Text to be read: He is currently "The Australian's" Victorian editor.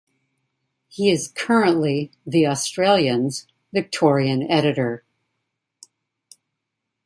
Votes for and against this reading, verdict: 2, 0, accepted